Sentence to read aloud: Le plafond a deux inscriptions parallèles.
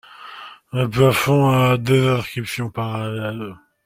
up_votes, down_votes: 0, 2